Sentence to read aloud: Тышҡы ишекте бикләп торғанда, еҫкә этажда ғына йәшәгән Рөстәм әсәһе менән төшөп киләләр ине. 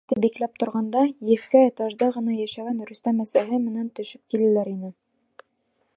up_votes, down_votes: 0, 2